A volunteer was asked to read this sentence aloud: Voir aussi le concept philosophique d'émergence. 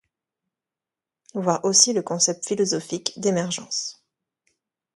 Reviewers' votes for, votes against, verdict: 2, 0, accepted